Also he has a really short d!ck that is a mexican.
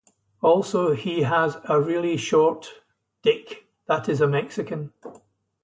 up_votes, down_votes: 2, 0